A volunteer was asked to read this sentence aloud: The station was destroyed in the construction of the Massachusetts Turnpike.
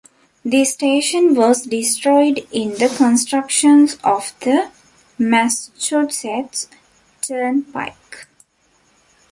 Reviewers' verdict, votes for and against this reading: rejected, 0, 2